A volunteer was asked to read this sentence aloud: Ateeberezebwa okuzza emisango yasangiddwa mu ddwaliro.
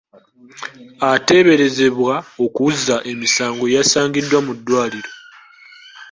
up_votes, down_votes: 2, 1